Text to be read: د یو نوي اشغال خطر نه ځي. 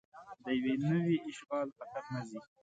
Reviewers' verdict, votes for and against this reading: rejected, 0, 2